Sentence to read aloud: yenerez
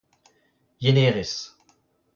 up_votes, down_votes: 2, 0